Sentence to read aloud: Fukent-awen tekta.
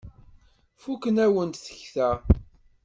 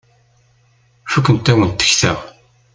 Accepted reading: second